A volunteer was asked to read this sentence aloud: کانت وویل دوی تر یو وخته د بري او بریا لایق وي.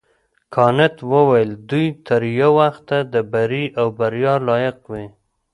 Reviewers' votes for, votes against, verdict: 2, 0, accepted